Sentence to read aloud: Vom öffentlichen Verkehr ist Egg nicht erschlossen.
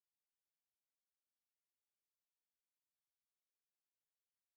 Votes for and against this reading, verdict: 0, 2, rejected